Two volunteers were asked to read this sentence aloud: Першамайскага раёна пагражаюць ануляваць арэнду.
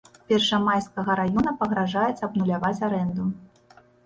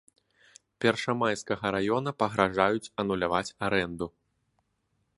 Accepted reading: second